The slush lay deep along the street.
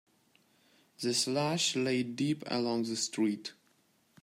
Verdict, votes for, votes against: accepted, 3, 0